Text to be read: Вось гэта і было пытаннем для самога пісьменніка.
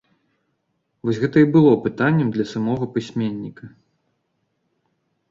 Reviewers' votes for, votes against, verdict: 2, 0, accepted